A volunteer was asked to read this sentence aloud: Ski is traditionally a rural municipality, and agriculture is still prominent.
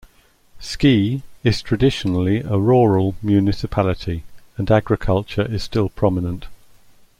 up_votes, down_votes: 2, 0